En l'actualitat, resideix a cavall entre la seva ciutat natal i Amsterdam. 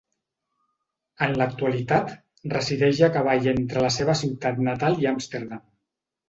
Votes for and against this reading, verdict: 2, 0, accepted